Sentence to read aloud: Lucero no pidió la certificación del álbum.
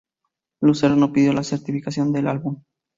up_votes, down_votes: 4, 0